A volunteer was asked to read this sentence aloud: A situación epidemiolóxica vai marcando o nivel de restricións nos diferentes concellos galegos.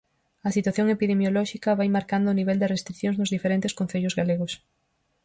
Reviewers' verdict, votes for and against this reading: accepted, 4, 0